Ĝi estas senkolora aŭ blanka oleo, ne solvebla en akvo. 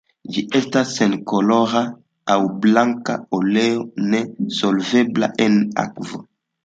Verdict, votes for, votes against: accepted, 2, 1